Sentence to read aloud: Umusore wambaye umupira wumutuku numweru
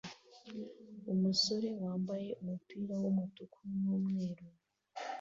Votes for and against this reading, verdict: 2, 0, accepted